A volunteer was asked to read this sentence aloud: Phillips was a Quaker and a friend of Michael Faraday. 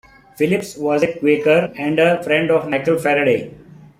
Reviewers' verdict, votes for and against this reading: accepted, 2, 0